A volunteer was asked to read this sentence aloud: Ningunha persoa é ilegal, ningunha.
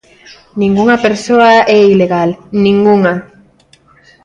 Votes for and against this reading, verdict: 2, 0, accepted